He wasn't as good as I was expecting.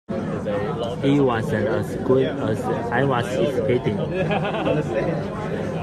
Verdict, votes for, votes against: rejected, 1, 2